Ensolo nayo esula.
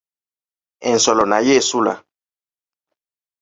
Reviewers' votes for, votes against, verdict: 2, 0, accepted